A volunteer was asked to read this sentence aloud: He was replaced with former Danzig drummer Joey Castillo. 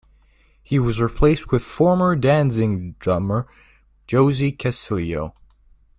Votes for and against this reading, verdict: 0, 2, rejected